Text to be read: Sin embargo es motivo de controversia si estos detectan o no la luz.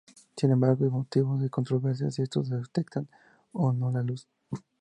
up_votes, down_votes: 2, 0